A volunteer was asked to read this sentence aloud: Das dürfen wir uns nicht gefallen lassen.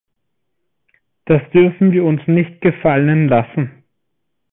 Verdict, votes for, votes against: accepted, 2, 0